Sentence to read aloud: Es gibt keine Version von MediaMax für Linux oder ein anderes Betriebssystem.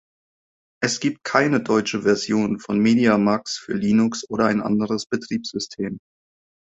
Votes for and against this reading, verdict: 0, 2, rejected